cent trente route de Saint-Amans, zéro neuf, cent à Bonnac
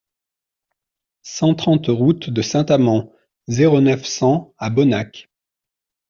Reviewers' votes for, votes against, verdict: 2, 0, accepted